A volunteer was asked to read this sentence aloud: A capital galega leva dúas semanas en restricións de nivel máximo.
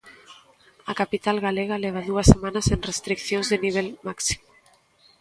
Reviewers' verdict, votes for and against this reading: rejected, 0, 2